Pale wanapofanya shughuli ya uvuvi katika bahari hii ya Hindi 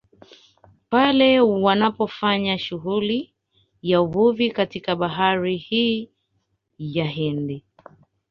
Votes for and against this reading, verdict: 2, 1, accepted